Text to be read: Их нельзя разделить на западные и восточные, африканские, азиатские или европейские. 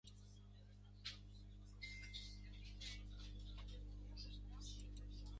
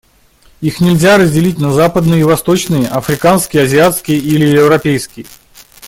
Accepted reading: second